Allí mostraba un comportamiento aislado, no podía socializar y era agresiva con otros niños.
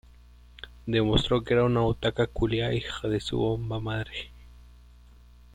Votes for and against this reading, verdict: 0, 2, rejected